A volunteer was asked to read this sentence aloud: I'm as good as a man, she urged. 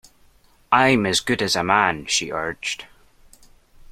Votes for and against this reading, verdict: 2, 0, accepted